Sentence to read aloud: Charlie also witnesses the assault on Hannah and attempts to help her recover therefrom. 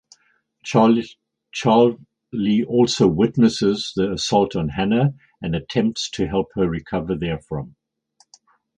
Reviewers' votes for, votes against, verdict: 0, 4, rejected